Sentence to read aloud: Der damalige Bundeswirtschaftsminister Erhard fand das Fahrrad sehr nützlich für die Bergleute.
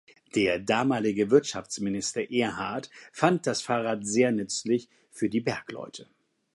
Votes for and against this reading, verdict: 0, 2, rejected